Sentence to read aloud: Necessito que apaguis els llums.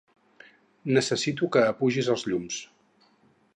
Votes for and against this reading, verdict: 0, 6, rejected